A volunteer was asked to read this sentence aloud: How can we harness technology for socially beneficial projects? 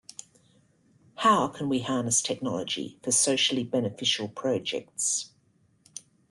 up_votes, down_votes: 2, 0